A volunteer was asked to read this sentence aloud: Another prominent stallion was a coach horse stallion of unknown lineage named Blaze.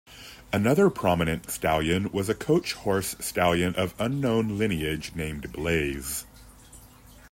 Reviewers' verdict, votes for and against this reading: accepted, 2, 0